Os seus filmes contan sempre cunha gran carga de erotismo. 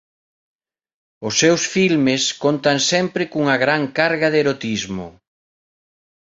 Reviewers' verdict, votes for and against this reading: accepted, 2, 0